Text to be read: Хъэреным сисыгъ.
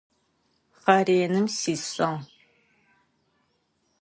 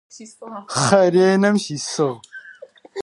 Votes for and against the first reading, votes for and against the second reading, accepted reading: 2, 0, 0, 4, first